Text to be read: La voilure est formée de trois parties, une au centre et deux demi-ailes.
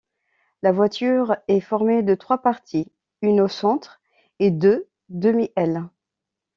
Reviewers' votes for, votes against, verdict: 0, 2, rejected